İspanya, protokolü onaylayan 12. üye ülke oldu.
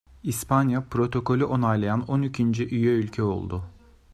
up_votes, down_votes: 0, 2